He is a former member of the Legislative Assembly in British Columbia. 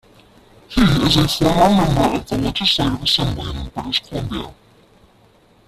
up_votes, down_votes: 0, 2